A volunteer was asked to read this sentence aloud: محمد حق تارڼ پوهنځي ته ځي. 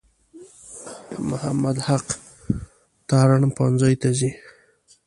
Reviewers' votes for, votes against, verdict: 1, 2, rejected